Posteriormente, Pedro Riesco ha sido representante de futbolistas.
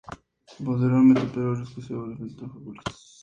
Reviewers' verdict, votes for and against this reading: accepted, 2, 0